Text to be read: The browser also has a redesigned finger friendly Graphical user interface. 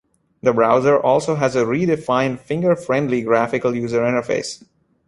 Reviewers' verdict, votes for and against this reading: rejected, 1, 2